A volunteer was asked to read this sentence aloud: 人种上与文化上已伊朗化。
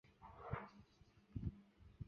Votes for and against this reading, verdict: 4, 0, accepted